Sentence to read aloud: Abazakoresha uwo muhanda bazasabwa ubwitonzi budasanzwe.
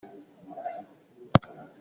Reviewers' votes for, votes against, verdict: 0, 2, rejected